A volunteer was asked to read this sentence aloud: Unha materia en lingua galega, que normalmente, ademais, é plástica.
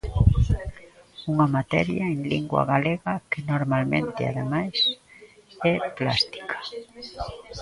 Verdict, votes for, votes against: rejected, 1, 2